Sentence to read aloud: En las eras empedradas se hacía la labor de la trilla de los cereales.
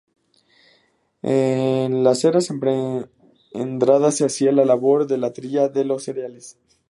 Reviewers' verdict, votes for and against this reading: rejected, 0, 4